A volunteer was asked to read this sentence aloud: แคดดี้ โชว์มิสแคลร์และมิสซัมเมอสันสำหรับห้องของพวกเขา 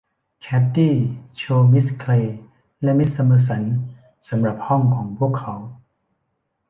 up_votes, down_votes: 2, 1